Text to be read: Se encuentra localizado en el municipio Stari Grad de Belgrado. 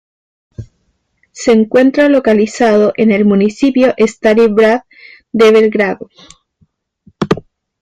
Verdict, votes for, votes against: rejected, 1, 2